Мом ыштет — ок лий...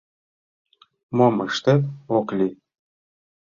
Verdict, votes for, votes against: accepted, 2, 0